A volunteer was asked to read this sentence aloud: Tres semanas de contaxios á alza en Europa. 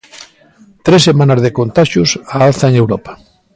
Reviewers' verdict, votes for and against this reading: accepted, 2, 0